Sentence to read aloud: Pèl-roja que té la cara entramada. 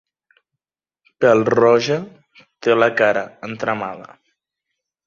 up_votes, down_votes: 0, 2